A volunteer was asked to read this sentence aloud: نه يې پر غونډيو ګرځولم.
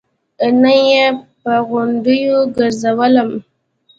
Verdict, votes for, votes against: accepted, 2, 0